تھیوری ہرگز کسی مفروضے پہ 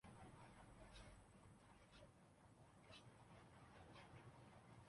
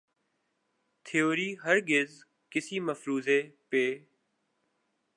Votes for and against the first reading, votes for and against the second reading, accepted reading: 0, 4, 4, 0, second